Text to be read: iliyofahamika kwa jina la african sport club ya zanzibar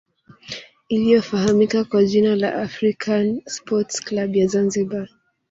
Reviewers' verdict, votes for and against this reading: accepted, 2, 0